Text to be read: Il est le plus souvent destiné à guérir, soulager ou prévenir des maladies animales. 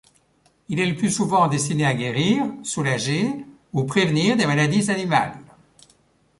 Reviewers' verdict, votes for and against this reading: rejected, 1, 2